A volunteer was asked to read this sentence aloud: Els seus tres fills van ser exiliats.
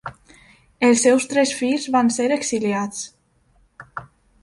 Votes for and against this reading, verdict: 3, 0, accepted